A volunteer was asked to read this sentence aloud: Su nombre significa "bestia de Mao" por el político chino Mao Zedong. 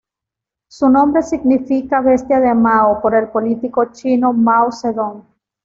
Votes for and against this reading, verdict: 2, 0, accepted